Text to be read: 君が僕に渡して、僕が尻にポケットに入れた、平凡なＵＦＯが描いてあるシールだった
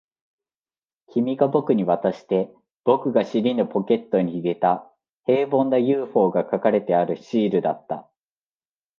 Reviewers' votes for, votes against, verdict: 1, 2, rejected